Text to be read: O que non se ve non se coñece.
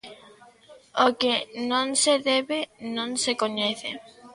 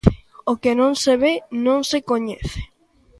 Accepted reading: second